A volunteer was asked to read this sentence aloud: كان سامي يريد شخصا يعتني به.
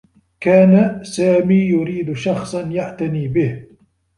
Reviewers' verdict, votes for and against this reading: accepted, 2, 0